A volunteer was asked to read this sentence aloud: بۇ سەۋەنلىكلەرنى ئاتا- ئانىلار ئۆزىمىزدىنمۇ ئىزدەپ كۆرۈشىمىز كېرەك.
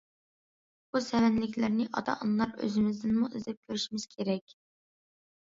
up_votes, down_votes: 2, 0